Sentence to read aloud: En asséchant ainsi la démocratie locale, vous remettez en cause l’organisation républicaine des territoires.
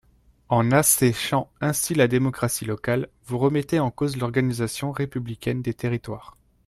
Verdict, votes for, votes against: rejected, 0, 2